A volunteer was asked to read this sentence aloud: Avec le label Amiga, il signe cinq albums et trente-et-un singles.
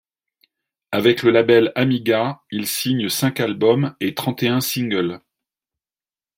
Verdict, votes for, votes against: accepted, 2, 0